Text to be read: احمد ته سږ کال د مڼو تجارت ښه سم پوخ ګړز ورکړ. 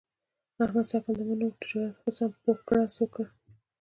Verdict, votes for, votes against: accepted, 2, 0